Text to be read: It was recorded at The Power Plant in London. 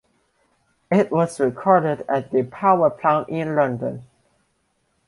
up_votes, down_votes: 2, 0